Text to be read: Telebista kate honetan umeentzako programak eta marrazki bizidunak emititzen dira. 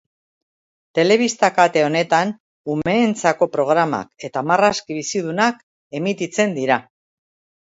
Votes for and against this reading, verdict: 2, 0, accepted